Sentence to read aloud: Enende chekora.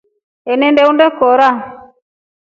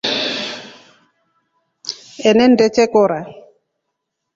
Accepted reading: second